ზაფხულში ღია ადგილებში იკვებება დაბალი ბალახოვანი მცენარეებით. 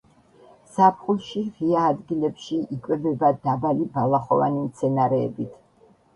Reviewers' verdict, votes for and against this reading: accepted, 2, 0